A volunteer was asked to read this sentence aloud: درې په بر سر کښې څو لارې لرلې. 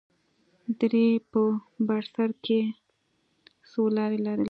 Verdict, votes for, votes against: accepted, 2, 0